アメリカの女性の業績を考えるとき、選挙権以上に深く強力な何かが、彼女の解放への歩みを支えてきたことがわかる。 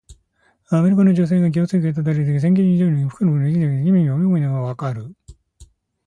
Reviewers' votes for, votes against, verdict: 0, 2, rejected